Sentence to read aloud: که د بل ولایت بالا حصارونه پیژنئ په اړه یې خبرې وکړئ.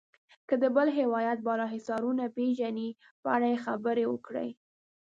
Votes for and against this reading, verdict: 2, 1, accepted